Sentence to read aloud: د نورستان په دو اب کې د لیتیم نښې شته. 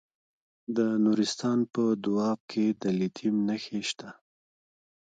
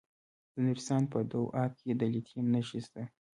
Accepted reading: second